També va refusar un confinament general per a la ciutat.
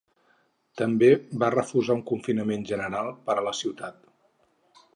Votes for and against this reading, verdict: 6, 0, accepted